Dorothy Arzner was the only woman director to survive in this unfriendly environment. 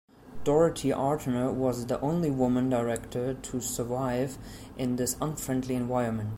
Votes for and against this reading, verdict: 1, 2, rejected